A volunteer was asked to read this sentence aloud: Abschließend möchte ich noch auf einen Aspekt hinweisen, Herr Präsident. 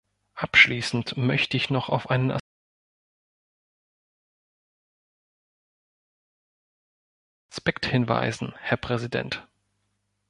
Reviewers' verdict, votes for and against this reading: rejected, 0, 2